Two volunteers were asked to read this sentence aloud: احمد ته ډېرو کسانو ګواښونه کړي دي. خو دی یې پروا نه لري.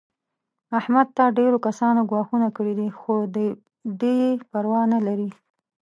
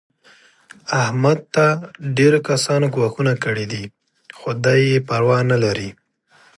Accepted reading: second